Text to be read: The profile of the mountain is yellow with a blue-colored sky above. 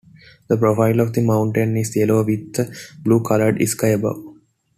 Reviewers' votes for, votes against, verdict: 2, 0, accepted